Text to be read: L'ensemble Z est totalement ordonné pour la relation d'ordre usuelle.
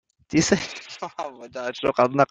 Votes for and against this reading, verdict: 0, 2, rejected